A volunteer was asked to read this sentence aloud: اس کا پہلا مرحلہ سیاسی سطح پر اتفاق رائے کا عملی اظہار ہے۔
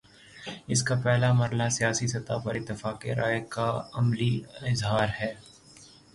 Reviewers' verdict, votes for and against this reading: rejected, 0, 3